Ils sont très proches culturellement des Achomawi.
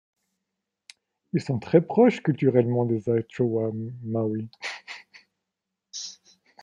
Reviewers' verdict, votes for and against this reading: rejected, 1, 2